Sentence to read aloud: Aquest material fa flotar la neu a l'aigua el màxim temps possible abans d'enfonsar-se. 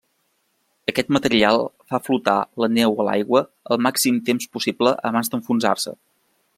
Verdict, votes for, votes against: accepted, 3, 0